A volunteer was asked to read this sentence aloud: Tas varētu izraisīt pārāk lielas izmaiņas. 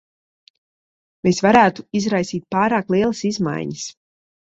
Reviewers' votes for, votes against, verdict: 0, 2, rejected